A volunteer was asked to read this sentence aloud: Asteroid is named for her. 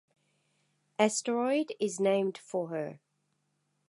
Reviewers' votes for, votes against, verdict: 2, 0, accepted